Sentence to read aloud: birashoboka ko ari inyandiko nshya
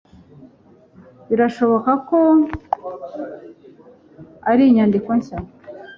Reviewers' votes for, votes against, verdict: 0, 2, rejected